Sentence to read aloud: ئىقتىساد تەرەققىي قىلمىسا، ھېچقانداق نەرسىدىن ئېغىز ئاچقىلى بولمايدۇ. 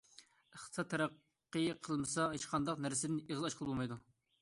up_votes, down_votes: 2, 1